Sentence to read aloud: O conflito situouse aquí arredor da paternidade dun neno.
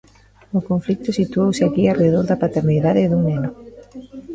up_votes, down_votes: 1, 2